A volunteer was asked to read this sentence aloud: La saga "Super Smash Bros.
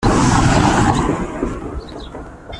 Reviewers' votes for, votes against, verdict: 0, 2, rejected